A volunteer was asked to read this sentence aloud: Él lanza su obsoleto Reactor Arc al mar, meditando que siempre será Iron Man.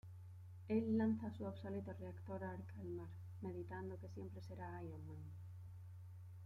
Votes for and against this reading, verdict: 1, 2, rejected